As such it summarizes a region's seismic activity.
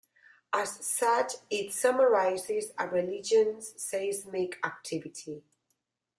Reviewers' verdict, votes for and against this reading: rejected, 0, 2